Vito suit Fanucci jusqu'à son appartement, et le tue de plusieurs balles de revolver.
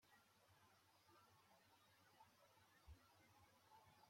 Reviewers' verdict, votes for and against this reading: rejected, 0, 2